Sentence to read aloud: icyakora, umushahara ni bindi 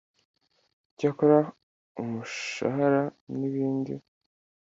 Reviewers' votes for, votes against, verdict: 2, 0, accepted